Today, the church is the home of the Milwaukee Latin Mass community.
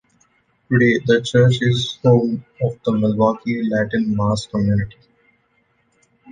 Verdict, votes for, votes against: accepted, 2, 0